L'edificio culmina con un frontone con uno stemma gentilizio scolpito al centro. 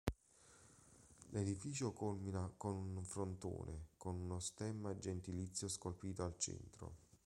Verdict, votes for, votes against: rejected, 1, 2